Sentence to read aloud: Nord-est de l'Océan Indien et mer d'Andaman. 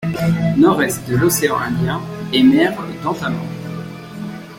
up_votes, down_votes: 0, 3